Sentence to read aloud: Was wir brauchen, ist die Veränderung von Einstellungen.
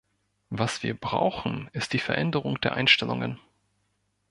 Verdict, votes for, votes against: rejected, 0, 2